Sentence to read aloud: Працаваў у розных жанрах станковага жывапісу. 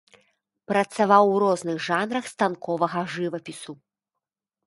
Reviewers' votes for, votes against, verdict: 2, 0, accepted